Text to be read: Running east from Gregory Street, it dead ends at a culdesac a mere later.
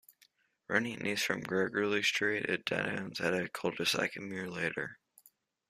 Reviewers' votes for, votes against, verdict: 1, 2, rejected